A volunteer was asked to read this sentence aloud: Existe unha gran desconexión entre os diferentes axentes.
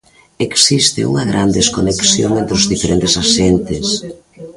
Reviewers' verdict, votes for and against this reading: rejected, 0, 2